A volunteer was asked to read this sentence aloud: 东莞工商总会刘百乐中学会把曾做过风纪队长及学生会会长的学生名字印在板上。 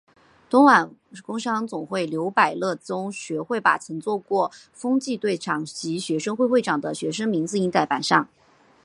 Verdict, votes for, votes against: rejected, 2, 2